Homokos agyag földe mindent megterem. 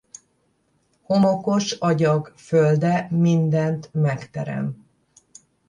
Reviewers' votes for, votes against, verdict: 10, 0, accepted